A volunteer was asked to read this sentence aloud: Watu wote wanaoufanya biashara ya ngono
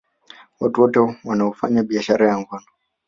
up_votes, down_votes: 3, 0